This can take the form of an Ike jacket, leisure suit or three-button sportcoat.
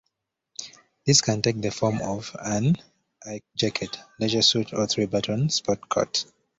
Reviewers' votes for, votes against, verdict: 2, 0, accepted